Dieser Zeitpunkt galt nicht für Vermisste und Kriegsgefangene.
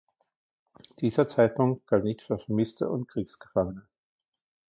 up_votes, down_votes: 2, 0